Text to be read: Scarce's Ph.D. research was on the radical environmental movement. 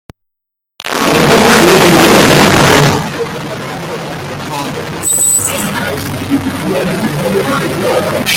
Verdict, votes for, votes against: rejected, 0, 2